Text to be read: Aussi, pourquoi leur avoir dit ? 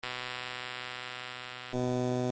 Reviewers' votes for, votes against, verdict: 0, 2, rejected